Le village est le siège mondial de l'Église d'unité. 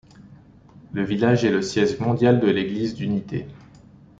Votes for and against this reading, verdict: 1, 2, rejected